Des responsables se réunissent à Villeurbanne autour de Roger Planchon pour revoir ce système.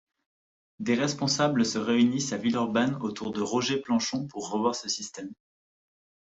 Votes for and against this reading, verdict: 2, 1, accepted